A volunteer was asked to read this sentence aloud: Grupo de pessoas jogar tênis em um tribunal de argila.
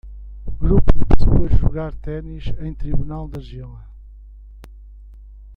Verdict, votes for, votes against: rejected, 1, 2